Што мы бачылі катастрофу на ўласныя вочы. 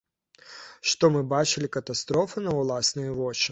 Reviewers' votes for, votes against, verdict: 2, 0, accepted